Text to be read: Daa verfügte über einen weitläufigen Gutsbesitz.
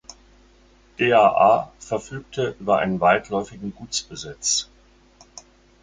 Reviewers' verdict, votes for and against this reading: rejected, 0, 4